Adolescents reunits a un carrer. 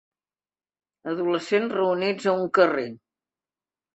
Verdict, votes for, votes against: accepted, 3, 0